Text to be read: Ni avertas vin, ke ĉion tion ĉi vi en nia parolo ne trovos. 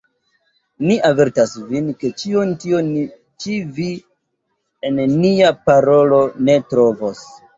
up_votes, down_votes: 1, 2